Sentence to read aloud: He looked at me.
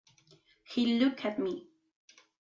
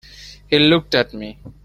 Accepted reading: second